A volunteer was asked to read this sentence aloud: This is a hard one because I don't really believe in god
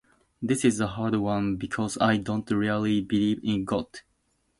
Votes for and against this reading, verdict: 2, 0, accepted